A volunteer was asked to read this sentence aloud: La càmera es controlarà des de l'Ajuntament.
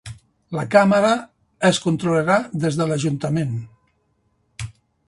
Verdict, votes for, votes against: accepted, 3, 0